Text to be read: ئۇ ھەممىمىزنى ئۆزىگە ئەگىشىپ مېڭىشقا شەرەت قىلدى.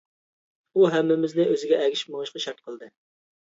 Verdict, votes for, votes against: rejected, 1, 2